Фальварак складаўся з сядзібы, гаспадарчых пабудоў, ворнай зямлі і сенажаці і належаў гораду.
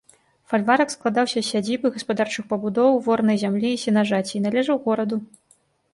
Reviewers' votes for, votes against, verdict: 2, 0, accepted